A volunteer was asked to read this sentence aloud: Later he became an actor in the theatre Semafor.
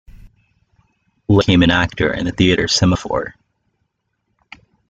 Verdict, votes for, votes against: rejected, 0, 2